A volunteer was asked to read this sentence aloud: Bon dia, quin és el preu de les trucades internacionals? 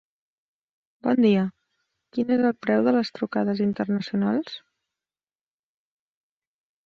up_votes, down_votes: 1, 2